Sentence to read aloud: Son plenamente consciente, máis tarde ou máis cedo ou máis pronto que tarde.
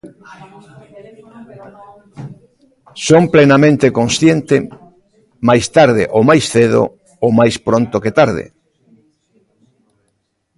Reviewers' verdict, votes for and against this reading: rejected, 0, 2